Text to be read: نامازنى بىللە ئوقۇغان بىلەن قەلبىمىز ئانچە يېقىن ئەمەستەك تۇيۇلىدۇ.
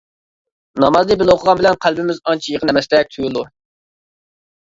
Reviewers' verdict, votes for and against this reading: rejected, 0, 2